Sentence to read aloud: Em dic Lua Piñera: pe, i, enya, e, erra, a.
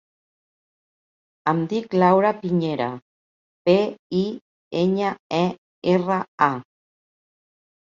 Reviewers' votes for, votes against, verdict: 2, 6, rejected